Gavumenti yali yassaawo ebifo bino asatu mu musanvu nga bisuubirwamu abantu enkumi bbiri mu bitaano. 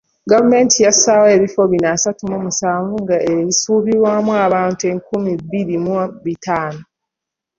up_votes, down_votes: 3, 0